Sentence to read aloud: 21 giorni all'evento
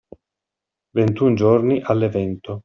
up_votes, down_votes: 0, 2